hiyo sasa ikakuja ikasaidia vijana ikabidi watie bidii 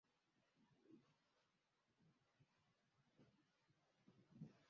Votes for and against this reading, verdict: 0, 2, rejected